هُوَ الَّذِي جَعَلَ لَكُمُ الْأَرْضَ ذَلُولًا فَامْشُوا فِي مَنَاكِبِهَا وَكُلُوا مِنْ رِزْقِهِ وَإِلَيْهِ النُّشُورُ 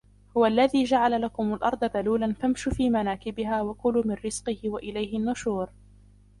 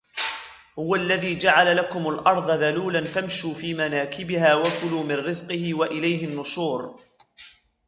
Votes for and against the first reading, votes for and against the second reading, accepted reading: 2, 0, 1, 2, first